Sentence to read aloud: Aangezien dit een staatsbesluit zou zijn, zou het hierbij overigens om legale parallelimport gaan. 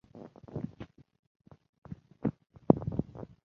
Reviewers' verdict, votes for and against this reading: rejected, 0, 2